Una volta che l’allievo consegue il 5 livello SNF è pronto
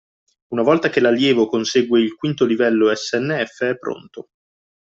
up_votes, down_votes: 0, 2